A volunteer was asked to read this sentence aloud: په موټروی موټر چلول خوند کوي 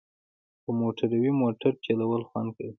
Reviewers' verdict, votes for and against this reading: accepted, 2, 0